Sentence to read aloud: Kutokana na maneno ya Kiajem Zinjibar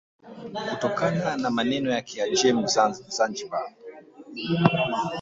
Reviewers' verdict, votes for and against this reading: rejected, 0, 2